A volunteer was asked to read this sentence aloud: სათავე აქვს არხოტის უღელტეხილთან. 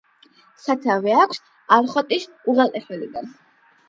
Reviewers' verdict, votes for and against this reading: accepted, 8, 4